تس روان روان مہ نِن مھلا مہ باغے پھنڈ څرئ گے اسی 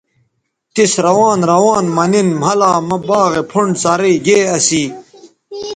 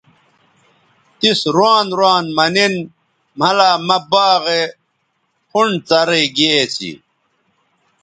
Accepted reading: second